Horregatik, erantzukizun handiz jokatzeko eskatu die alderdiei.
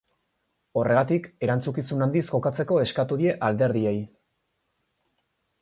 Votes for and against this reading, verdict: 4, 0, accepted